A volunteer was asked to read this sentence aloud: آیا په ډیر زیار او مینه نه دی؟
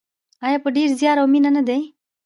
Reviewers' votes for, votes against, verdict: 2, 1, accepted